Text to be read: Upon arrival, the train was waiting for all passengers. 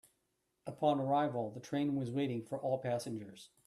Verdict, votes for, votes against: accepted, 2, 0